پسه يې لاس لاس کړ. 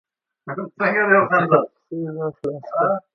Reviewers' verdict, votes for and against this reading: rejected, 0, 2